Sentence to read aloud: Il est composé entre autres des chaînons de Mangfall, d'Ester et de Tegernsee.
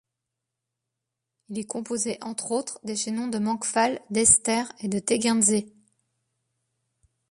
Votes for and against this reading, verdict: 2, 0, accepted